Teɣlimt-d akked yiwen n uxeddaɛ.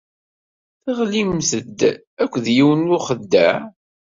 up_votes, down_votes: 2, 0